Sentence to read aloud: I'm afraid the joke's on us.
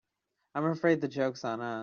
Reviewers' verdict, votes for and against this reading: accepted, 2, 1